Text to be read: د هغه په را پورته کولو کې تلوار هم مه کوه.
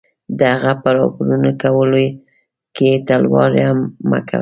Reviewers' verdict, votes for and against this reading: rejected, 1, 2